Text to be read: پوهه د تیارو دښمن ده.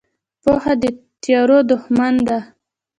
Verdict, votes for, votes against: rejected, 0, 2